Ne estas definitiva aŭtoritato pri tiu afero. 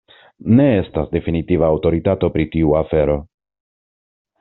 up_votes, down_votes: 2, 0